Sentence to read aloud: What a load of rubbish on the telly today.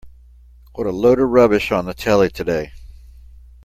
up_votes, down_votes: 2, 0